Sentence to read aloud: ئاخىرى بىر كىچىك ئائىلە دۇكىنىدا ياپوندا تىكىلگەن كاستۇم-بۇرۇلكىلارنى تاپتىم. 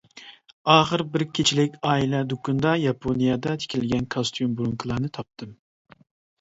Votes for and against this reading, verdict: 0, 2, rejected